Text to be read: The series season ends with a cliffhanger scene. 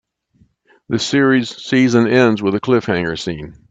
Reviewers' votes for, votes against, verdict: 2, 0, accepted